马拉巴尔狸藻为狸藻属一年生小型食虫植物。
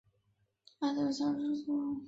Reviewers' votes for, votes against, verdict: 1, 2, rejected